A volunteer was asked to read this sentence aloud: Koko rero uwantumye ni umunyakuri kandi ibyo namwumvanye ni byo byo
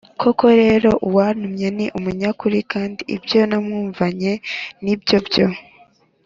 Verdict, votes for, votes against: accepted, 2, 0